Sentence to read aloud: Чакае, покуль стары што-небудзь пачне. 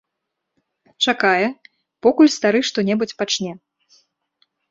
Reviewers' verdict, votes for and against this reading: accepted, 2, 0